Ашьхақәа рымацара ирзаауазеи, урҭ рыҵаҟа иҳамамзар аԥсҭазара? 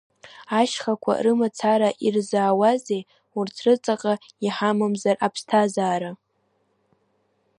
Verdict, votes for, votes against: rejected, 1, 2